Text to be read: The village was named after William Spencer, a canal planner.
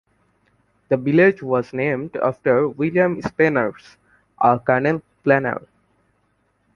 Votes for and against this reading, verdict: 0, 2, rejected